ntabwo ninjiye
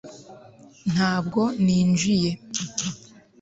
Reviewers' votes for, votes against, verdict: 3, 0, accepted